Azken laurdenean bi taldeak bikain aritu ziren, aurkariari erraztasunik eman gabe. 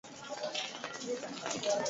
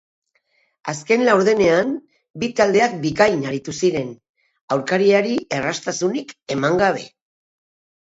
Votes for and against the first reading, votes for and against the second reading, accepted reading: 0, 4, 2, 0, second